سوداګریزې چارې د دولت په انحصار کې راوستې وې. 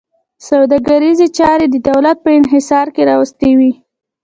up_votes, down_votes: 2, 0